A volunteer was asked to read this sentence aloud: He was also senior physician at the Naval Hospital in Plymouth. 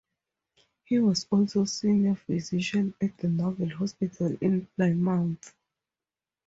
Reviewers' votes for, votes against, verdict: 4, 2, accepted